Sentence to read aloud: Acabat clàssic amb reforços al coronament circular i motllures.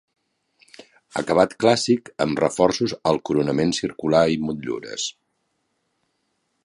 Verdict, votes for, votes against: accepted, 3, 0